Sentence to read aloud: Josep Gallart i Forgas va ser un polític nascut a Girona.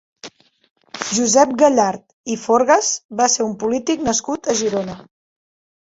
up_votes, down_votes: 3, 0